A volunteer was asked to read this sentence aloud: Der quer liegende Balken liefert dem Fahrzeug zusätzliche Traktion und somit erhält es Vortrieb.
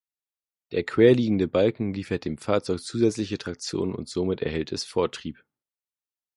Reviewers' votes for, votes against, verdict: 2, 0, accepted